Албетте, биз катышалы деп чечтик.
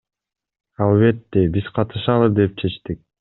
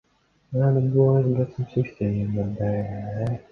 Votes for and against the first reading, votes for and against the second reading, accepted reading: 2, 0, 0, 2, first